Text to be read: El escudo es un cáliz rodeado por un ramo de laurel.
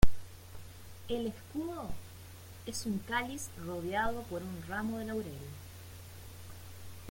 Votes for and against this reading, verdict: 1, 2, rejected